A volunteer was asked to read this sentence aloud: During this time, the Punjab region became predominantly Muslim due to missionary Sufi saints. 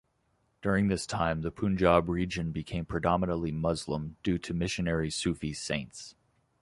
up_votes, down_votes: 2, 0